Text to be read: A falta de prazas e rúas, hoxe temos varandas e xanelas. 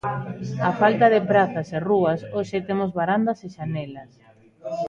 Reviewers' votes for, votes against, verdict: 1, 2, rejected